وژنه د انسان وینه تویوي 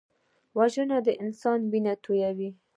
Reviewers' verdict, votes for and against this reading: rejected, 1, 2